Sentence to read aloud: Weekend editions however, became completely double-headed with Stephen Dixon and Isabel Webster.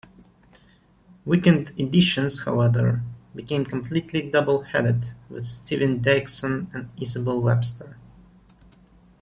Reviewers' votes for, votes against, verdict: 1, 2, rejected